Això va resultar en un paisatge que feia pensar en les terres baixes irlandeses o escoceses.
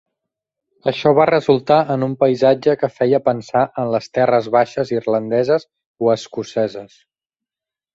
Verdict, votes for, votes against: accepted, 3, 0